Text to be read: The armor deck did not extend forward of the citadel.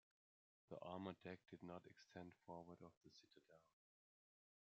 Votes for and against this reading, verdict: 2, 0, accepted